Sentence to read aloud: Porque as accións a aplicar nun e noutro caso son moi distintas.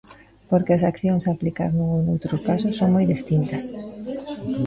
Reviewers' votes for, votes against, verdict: 2, 1, accepted